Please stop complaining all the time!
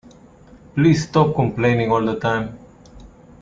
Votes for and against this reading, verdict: 2, 0, accepted